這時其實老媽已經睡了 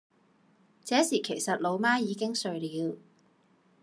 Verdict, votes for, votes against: rejected, 0, 2